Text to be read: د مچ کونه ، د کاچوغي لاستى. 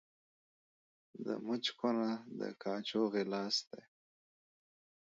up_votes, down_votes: 3, 0